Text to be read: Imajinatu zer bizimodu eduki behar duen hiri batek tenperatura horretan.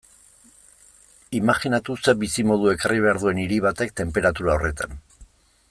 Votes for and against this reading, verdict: 0, 2, rejected